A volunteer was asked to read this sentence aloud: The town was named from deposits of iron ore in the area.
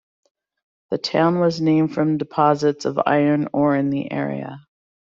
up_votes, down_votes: 2, 0